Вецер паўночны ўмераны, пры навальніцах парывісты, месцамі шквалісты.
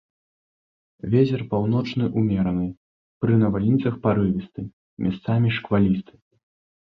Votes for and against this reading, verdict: 0, 2, rejected